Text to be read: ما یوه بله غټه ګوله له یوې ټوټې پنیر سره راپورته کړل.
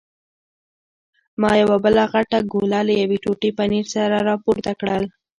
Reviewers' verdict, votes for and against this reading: rejected, 0, 2